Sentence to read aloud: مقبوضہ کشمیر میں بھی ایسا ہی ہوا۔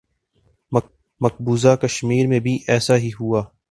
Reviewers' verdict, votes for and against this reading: accepted, 2, 0